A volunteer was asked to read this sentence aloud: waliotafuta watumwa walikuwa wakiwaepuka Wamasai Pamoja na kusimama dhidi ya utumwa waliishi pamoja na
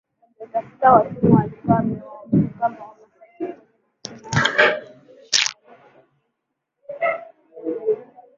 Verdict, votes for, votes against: rejected, 0, 2